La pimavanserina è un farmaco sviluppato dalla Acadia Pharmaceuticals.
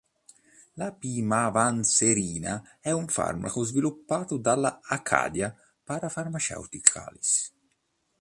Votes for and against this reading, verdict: 1, 3, rejected